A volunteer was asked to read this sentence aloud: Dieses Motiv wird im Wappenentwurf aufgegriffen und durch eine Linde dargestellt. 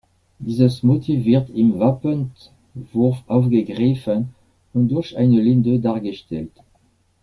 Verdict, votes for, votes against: rejected, 1, 2